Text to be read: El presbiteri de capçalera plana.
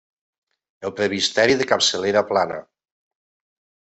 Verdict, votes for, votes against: rejected, 0, 2